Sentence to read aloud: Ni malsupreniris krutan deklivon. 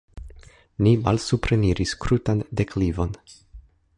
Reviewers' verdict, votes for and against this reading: accepted, 2, 0